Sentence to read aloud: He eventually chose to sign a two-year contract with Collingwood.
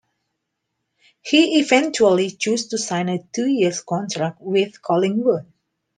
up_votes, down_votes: 0, 2